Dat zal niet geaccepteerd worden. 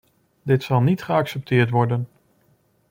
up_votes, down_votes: 1, 2